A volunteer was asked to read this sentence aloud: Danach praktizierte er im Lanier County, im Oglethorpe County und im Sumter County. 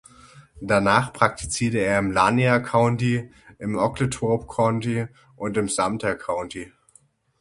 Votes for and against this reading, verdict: 6, 0, accepted